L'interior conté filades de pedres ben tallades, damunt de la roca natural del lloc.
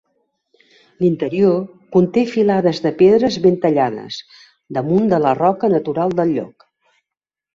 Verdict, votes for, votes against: accepted, 2, 0